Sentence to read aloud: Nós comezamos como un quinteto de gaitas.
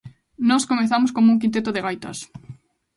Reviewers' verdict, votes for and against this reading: rejected, 0, 2